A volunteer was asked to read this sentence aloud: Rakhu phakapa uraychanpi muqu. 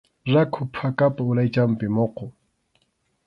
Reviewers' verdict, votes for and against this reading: accepted, 2, 0